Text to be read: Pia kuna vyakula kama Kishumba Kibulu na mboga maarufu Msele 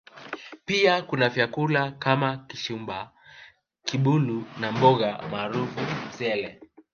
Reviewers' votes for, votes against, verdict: 1, 2, rejected